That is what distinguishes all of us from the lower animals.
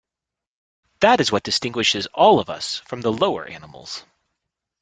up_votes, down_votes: 2, 0